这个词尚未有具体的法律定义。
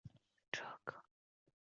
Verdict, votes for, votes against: rejected, 1, 3